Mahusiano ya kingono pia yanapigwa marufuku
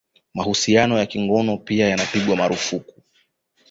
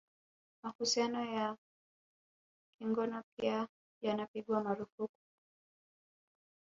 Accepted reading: second